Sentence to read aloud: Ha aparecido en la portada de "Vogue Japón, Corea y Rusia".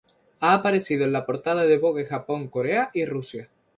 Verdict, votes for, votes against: rejected, 0, 2